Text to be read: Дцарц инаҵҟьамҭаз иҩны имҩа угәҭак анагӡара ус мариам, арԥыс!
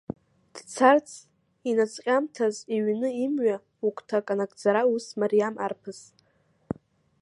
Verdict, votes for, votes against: rejected, 0, 2